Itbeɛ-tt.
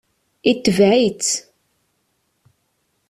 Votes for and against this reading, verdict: 1, 2, rejected